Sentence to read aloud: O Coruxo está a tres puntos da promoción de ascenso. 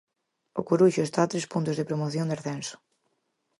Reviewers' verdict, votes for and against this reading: rejected, 0, 4